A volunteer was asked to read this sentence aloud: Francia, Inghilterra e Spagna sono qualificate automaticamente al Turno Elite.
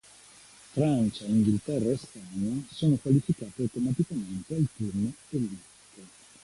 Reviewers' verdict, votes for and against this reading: accepted, 2, 0